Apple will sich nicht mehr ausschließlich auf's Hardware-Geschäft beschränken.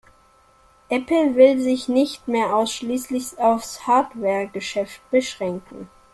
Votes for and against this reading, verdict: 1, 2, rejected